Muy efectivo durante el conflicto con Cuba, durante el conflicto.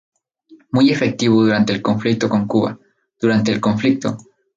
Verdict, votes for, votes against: accepted, 4, 0